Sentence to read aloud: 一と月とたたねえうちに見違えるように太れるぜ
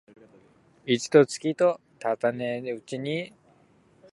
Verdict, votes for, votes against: rejected, 1, 2